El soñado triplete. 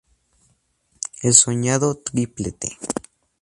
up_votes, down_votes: 2, 0